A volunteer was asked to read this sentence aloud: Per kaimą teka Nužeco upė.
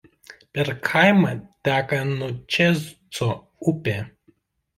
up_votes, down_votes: 1, 2